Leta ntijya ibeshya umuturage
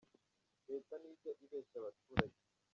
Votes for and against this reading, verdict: 0, 2, rejected